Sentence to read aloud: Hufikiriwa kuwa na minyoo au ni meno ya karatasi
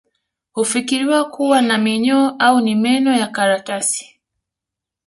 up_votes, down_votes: 2, 0